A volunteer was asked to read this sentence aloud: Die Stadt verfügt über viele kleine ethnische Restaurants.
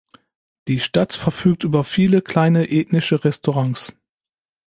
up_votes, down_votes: 2, 0